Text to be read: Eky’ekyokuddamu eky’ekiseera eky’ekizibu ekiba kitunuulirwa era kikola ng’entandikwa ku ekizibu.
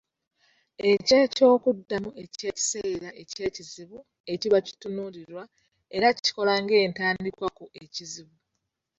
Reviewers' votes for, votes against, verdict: 1, 2, rejected